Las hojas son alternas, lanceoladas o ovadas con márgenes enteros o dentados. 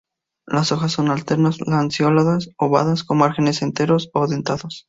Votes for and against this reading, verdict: 2, 0, accepted